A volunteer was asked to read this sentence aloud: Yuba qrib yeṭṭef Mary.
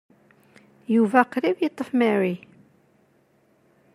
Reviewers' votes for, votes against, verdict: 3, 0, accepted